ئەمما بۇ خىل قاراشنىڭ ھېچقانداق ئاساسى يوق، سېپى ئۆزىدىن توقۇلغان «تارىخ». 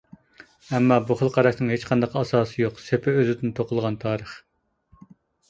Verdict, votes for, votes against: accepted, 2, 0